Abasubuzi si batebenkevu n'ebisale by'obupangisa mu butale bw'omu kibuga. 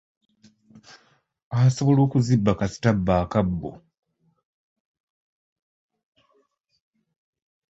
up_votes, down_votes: 0, 2